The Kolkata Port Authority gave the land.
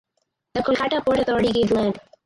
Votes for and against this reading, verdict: 2, 2, rejected